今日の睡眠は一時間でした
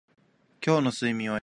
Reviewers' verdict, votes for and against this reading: rejected, 0, 2